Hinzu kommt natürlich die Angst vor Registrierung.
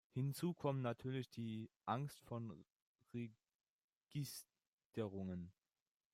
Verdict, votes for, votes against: rejected, 0, 2